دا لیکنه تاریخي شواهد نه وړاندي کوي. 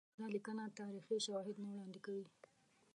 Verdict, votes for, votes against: rejected, 1, 2